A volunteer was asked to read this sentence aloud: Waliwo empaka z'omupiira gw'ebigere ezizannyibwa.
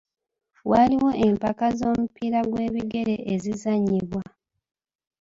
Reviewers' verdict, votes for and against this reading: rejected, 0, 2